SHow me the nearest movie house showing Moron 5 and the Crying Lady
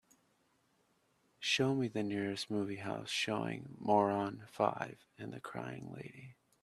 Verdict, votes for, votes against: rejected, 0, 2